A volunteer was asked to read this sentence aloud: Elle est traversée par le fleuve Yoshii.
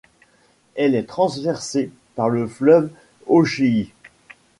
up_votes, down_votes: 1, 2